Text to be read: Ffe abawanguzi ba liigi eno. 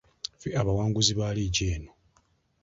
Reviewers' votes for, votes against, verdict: 0, 2, rejected